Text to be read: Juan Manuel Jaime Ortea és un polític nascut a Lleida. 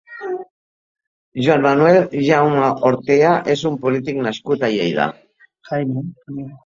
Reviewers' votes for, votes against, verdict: 1, 2, rejected